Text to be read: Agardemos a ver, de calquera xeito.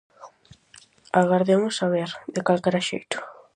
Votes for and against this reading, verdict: 4, 0, accepted